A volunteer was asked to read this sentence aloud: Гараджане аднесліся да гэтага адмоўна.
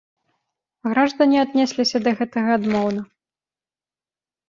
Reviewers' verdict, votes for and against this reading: rejected, 1, 2